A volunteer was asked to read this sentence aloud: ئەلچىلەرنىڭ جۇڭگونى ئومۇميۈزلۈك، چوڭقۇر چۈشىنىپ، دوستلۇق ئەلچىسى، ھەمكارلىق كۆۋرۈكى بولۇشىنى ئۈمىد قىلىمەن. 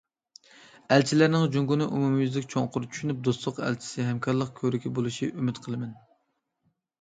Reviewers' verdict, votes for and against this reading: rejected, 1, 2